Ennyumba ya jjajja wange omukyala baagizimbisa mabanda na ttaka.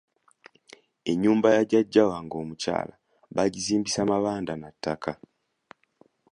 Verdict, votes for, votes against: accepted, 2, 0